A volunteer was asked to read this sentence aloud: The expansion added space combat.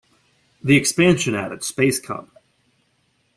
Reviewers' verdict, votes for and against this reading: rejected, 1, 2